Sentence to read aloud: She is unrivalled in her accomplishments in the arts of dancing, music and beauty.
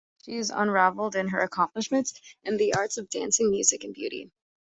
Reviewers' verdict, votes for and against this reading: accepted, 2, 0